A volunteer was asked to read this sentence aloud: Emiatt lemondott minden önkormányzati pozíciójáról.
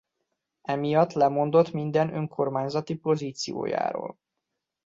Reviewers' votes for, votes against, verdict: 2, 0, accepted